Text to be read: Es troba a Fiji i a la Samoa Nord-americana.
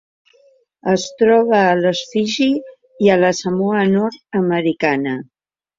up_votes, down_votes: 1, 2